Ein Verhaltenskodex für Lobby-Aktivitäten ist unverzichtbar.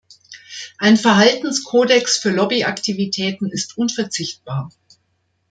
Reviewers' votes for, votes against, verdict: 3, 0, accepted